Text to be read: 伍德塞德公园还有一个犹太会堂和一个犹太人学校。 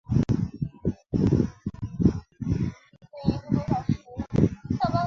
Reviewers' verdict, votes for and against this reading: rejected, 0, 2